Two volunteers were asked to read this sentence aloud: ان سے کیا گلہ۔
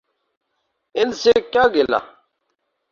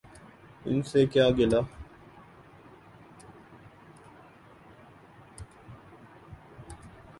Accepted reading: first